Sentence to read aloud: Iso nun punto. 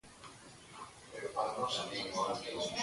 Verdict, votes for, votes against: rejected, 0, 2